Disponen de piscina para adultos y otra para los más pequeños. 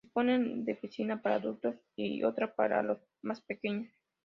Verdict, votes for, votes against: accepted, 2, 0